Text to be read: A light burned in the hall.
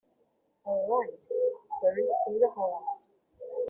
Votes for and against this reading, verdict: 2, 0, accepted